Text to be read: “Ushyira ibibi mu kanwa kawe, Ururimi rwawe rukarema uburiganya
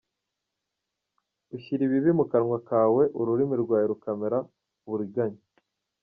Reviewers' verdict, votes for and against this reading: accepted, 2, 1